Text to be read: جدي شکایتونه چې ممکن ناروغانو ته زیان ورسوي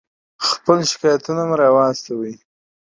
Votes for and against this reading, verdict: 0, 2, rejected